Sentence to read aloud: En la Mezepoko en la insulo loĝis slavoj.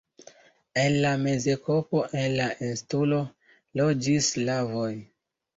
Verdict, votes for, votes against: rejected, 1, 2